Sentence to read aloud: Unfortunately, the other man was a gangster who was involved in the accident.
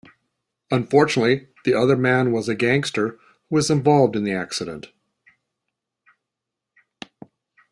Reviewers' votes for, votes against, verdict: 2, 0, accepted